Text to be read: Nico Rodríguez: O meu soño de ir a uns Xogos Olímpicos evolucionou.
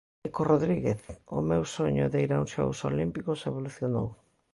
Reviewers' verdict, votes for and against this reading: rejected, 0, 2